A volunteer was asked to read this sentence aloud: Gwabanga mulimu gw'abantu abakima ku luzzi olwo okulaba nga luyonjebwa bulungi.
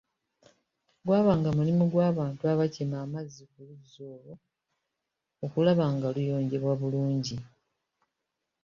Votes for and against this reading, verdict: 2, 0, accepted